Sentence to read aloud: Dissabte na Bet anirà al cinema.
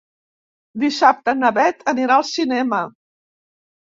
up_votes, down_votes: 2, 0